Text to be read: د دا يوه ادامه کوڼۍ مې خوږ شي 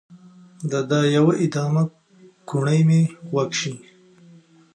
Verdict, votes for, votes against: accepted, 2, 1